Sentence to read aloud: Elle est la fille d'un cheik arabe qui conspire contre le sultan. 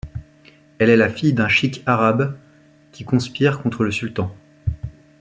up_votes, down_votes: 2, 0